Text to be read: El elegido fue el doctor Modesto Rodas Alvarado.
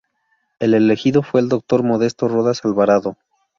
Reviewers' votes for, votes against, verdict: 0, 2, rejected